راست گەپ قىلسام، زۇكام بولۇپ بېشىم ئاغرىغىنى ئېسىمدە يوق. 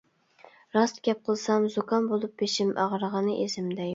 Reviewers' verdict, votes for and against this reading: rejected, 0, 2